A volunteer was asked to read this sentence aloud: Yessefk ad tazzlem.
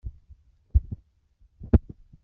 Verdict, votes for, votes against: rejected, 0, 2